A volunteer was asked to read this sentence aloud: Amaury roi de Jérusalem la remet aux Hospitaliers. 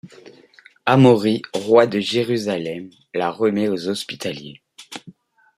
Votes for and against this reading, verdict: 2, 0, accepted